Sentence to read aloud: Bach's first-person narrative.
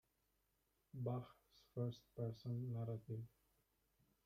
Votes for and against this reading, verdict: 1, 2, rejected